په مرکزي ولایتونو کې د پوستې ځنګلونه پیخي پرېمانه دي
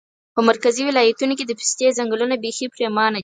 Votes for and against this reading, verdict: 4, 0, accepted